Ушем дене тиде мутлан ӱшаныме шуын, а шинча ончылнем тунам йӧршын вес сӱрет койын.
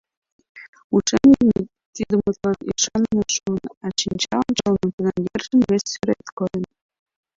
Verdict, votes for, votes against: rejected, 0, 2